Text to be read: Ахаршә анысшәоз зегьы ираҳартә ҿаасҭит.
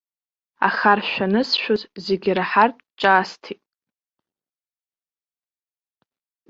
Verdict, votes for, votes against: accepted, 2, 1